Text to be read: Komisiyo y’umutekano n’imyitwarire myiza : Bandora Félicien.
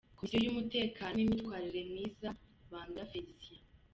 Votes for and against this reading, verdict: 1, 2, rejected